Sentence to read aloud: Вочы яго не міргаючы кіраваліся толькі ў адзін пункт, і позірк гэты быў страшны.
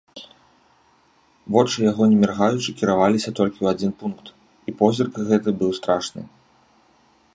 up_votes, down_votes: 2, 0